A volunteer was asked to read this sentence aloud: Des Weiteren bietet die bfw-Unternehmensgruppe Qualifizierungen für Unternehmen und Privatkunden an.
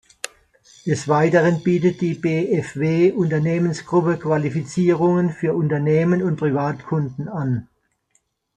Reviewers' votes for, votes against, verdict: 2, 0, accepted